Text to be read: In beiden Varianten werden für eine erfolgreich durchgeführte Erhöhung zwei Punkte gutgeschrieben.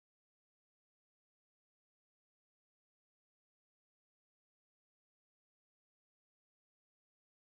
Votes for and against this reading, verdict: 0, 2, rejected